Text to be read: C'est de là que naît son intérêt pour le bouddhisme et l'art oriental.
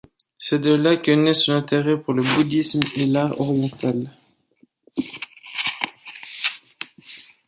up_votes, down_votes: 2, 1